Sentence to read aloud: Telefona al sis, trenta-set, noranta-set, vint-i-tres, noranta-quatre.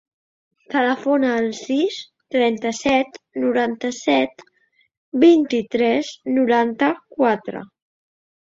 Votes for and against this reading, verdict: 3, 0, accepted